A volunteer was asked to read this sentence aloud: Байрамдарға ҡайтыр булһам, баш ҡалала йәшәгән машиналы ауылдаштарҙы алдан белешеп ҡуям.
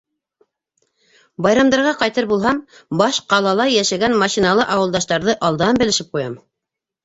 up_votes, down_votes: 3, 1